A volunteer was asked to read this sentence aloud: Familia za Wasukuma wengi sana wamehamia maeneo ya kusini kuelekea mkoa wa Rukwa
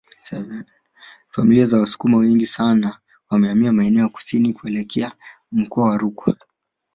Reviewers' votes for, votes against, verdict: 2, 0, accepted